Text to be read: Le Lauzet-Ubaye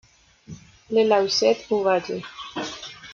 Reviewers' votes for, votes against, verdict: 2, 0, accepted